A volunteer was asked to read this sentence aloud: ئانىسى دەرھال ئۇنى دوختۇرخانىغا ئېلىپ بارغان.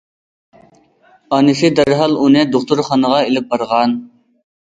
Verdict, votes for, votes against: accepted, 2, 0